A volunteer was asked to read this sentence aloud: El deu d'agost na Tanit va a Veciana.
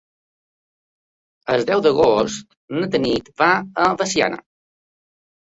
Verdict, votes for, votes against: accepted, 2, 0